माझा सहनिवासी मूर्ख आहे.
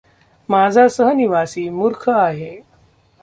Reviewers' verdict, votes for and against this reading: rejected, 1, 2